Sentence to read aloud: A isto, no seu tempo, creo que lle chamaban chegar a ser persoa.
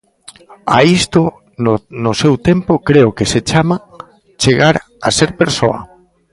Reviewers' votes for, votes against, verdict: 0, 2, rejected